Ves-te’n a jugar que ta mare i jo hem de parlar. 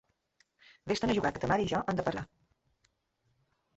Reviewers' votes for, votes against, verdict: 0, 2, rejected